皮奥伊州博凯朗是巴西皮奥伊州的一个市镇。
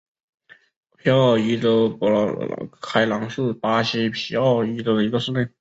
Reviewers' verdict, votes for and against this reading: accepted, 3, 0